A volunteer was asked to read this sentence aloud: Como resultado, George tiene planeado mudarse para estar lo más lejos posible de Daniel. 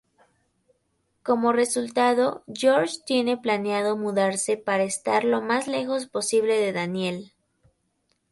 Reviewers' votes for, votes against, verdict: 2, 0, accepted